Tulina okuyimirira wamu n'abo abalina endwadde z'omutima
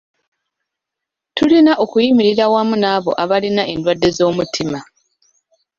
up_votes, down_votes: 2, 0